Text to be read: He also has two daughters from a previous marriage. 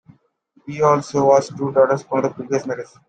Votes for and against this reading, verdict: 1, 2, rejected